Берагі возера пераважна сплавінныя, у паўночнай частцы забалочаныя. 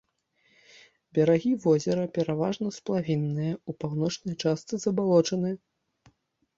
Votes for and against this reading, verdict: 2, 1, accepted